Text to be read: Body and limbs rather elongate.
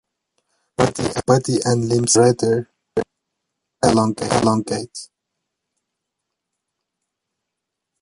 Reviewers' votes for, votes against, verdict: 0, 2, rejected